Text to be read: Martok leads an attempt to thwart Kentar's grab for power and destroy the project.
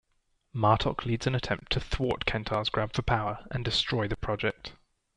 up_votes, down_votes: 1, 2